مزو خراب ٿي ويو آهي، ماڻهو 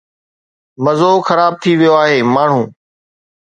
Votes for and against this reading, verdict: 2, 1, accepted